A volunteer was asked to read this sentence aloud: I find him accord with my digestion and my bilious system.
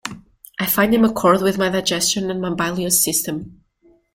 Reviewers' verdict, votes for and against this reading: rejected, 1, 2